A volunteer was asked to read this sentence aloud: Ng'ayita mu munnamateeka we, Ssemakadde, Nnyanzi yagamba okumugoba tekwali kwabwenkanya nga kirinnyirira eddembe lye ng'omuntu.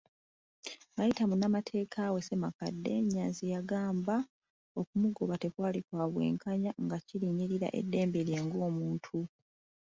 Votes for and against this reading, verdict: 1, 2, rejected